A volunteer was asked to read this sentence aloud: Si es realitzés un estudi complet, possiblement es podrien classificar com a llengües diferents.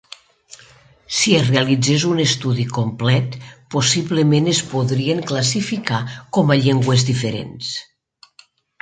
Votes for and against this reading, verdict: 3, 0, accepted